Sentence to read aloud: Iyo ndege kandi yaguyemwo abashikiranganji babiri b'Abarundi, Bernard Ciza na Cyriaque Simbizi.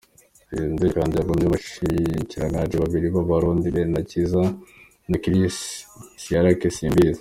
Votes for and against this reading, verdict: 0, 2, rejected